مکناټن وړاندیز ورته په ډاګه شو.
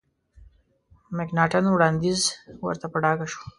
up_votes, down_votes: 2, 0